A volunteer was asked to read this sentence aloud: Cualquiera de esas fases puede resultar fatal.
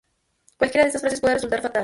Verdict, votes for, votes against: accepted, 2, 0